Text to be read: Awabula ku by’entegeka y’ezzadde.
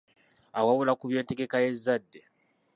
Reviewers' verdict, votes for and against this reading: rejected, 0, 2